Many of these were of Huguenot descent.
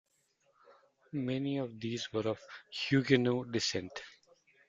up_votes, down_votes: 0, 2